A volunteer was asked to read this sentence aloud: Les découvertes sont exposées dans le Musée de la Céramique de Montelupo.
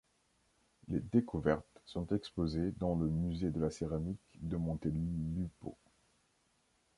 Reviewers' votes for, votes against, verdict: 1, 2, rejected